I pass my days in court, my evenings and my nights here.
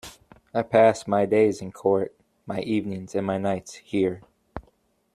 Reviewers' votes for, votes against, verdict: 2, 0, accepted